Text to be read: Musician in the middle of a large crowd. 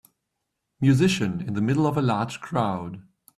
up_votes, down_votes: 2, 0